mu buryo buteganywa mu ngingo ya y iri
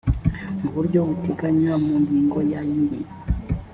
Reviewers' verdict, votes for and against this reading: accepted, 2, 0